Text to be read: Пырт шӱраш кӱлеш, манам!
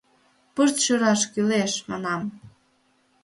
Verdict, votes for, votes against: accepted, 2, 0